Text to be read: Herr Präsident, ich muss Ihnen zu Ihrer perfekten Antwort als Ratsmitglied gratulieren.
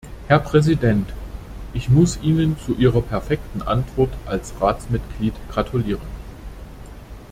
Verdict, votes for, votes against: accepted, 2, 0